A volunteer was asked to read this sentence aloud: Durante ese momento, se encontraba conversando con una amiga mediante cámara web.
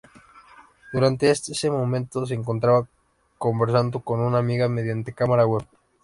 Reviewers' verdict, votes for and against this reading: rejected, 0, 2